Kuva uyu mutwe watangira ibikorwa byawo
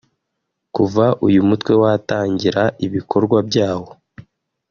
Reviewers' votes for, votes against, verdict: 5, 0, accepted